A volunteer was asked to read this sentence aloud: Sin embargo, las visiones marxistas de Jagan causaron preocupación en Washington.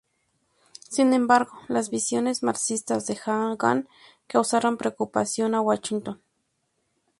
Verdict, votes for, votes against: accepted, 2, 0